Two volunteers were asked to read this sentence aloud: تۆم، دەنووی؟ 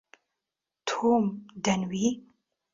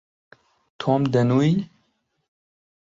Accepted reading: second